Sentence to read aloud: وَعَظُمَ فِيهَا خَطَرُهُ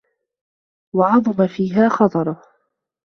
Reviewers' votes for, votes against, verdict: 2, 0, accepted